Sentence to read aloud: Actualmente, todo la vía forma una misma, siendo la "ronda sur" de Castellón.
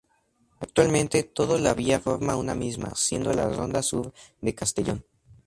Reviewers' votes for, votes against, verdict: 2, 0, accepted